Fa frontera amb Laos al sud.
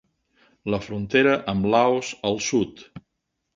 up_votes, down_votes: 0, 2